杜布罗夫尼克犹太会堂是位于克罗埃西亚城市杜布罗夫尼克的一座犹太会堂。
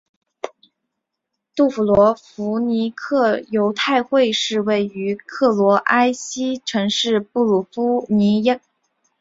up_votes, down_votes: 2, 1